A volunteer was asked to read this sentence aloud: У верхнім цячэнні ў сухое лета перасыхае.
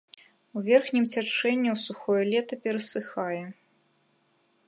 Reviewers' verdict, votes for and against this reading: accepted, 2, 0